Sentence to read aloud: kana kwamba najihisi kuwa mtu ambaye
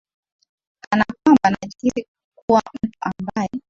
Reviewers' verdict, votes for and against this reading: accepted, 2, 0